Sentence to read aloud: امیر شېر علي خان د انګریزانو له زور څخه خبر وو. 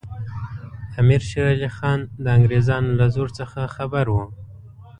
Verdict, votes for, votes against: accepted, 2, 0